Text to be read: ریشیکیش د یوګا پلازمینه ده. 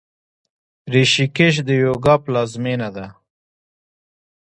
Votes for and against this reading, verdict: 1, 2, rejected